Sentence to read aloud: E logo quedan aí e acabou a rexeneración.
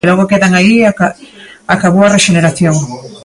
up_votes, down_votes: 1, 2